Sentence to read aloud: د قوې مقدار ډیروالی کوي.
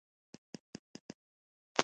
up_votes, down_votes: 0, 2